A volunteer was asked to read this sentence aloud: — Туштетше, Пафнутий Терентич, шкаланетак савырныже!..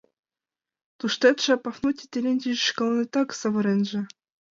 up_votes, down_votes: 1, 2